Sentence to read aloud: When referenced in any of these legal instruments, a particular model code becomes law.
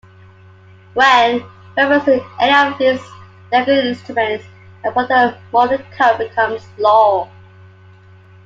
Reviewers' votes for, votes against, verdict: 0, 2, rejected